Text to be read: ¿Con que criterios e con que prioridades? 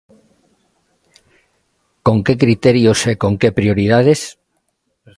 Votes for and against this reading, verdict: 2, 0, accepted